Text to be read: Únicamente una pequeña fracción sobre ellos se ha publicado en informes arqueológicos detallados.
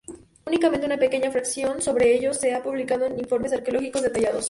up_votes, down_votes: 2, 0